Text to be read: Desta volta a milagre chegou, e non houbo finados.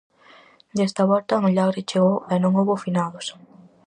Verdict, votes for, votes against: accepted, 4, 0